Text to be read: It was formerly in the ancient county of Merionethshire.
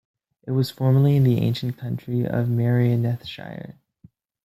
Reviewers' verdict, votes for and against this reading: accepted, 2, 0